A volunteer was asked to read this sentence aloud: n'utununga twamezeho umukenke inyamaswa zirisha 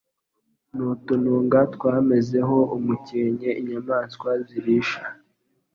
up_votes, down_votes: 3, 0